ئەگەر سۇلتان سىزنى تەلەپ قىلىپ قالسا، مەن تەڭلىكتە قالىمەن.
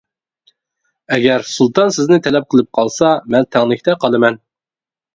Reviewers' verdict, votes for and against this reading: accepted, 3, 0